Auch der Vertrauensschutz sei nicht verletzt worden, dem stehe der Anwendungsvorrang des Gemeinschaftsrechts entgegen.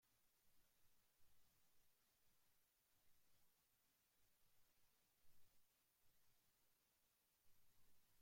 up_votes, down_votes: 0, 2